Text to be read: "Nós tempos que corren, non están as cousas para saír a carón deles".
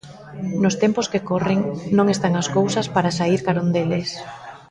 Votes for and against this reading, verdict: 0, 2, rejected